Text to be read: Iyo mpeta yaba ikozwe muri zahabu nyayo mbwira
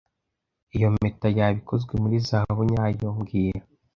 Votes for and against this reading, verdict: 2, 0, accepted